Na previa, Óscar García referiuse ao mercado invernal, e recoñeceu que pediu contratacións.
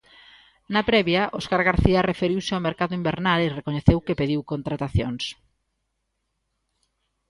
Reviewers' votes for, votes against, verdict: 2, 0, accepted